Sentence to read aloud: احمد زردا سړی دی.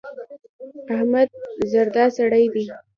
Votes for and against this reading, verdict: 2, 0, accepted